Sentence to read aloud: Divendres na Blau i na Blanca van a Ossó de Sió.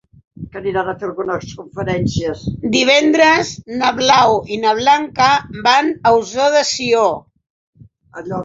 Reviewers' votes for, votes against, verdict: 0, 4, rejected